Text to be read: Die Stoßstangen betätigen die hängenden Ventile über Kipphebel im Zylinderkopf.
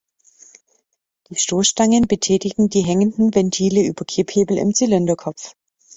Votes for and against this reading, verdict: 2, 0, accepted